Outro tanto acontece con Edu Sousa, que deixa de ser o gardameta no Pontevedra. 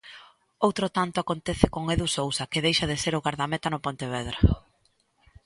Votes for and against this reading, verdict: 2, 0, accepted